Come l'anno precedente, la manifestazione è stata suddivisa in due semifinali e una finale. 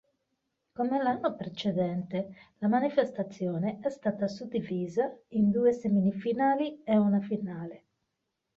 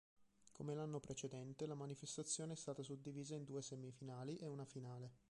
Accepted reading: second